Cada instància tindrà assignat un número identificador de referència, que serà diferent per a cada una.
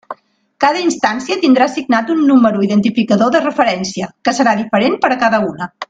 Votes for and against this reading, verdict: 2, 0, accepted